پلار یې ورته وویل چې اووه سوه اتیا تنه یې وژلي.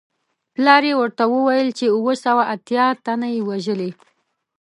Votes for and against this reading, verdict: 2, 0, accepted